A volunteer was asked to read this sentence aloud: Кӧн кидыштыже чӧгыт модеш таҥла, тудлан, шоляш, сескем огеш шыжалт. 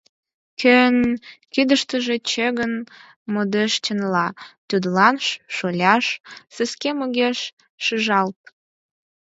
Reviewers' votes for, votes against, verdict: 2, 6, rejected